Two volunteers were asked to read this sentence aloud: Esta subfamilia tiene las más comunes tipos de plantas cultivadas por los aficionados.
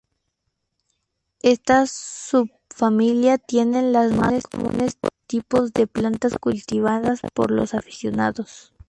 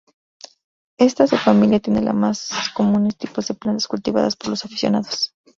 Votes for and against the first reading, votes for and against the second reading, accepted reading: 2, 0, 0, 2, first